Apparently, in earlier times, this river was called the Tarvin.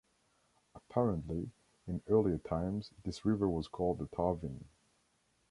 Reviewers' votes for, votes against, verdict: 2, 0, accepted